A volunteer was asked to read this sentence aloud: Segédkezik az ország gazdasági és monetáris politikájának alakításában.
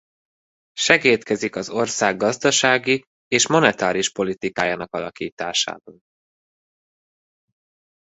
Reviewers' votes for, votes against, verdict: 0, 2, rejected